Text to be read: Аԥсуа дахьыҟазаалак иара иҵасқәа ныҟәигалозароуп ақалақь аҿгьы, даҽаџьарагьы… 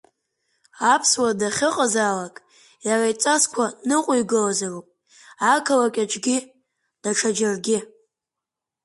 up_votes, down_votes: 6, 5